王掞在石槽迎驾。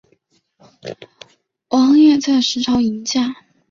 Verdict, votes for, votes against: accepted, 3, 0